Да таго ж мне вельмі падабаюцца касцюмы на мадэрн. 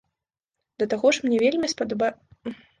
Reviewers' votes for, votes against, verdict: 0, 2, rejected